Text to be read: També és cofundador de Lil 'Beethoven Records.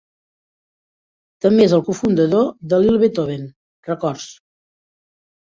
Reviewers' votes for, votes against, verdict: 1, 2, rejected